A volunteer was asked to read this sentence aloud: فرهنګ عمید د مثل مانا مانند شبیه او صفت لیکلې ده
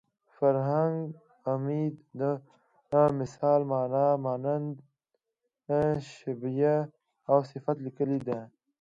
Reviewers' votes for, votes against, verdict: 2, 1, accepted